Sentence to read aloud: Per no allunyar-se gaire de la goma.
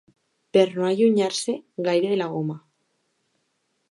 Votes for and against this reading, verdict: 2, 0, accepted